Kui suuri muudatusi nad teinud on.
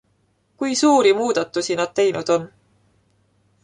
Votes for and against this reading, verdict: 2, 0, accepted